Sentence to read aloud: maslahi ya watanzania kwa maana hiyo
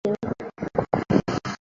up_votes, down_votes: 0, 2